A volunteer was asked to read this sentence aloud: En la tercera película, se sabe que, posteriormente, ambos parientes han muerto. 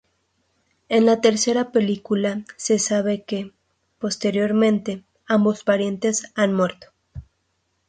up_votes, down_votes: 4, 0